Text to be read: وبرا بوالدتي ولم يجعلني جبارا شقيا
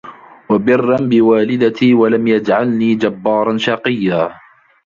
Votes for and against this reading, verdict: 0, 2, rejected